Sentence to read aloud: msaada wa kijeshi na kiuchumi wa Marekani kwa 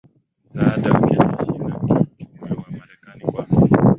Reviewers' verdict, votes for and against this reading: rejected, 4, 5